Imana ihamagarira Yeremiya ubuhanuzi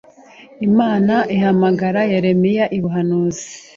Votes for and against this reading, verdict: 1, 2, rejected